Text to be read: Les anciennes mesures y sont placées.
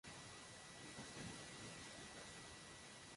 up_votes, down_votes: 0, 2